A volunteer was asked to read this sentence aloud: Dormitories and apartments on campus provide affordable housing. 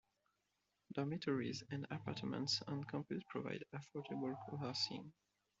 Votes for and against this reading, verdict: 2, 0, accepted